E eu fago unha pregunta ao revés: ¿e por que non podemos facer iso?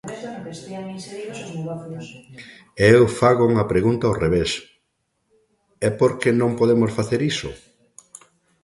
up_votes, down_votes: 1, 2